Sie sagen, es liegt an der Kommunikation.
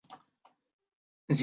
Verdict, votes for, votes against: rejected, 0, 2